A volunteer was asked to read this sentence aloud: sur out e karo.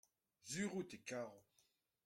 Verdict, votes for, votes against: accepted, 2, 0